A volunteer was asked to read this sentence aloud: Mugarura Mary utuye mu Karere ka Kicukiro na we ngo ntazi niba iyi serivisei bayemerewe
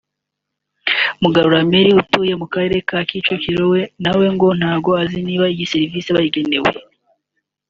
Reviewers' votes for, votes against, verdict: 0, 2, rejected